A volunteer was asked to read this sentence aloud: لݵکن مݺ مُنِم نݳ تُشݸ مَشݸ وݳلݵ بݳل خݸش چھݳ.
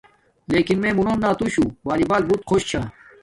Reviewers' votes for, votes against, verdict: 1, 2, rejected